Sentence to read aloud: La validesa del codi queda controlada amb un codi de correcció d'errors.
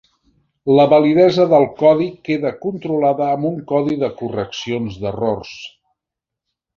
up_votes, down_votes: 1, 2